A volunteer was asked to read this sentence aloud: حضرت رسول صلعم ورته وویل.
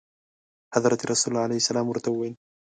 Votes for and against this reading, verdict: 0, 2, rejected